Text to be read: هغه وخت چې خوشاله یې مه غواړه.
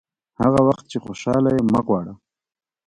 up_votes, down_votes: 2, 1